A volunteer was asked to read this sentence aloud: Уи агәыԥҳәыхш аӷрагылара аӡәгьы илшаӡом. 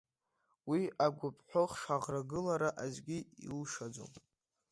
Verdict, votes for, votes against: rejected, 0, 2